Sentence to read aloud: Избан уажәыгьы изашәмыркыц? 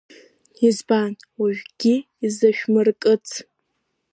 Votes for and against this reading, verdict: 0, 2, rejected